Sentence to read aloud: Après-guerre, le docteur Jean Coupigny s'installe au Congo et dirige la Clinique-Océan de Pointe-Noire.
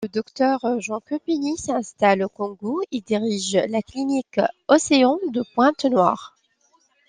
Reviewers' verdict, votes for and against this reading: rejected, 0, 2